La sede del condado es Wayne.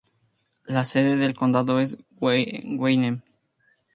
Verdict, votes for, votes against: rejected, 0, 2